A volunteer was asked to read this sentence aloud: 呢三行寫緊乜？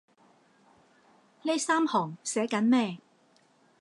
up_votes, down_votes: 1, 3